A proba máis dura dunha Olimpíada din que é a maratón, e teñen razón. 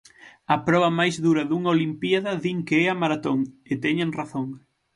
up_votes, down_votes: 6, 0